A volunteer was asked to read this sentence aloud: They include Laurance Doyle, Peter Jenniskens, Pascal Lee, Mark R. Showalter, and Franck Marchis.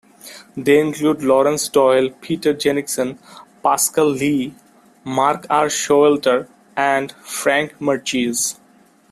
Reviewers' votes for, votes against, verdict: 2, 0, accepted